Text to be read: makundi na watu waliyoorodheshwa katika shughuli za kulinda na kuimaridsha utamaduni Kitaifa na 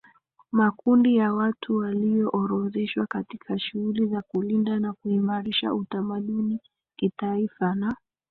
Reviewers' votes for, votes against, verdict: 2, 1, accepted